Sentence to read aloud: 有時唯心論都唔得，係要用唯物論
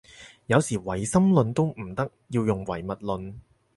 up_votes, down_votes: 0, 4